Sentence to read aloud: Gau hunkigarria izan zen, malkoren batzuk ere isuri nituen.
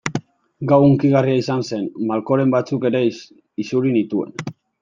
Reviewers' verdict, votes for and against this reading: rejected, 0, 2